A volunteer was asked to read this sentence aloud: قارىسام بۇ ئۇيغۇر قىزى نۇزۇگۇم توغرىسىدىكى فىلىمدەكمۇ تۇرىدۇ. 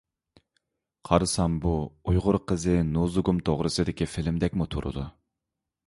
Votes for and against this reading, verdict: 2, 0, accepted